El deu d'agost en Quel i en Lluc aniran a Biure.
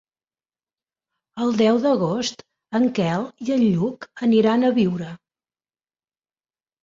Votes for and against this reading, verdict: 3, 0, accepted